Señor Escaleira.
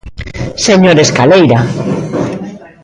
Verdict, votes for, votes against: accepted, 2, 1